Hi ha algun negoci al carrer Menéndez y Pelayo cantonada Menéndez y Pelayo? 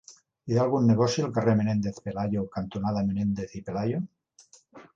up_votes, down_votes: 1, 2